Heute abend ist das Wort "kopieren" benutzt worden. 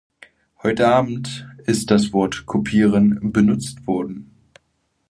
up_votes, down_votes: 2, 0